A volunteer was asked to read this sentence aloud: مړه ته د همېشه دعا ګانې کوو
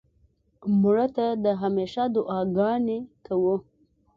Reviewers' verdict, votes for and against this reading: accepted, 2, 0